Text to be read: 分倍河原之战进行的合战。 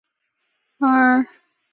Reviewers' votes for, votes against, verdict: 0, 2, rejected